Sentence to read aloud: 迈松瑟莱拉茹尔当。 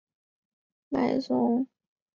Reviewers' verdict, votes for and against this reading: accepted, 3, 0